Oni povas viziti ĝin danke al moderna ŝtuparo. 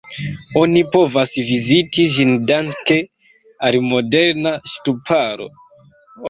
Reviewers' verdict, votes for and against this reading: rejected, 1, 2